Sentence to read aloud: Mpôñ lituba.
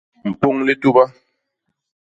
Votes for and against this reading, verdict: 2, 0, accepted